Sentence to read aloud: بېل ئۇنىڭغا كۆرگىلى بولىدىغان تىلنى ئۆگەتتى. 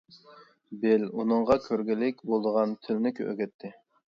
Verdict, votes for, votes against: rejected, 0, 2